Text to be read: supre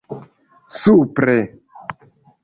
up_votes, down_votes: 2, 0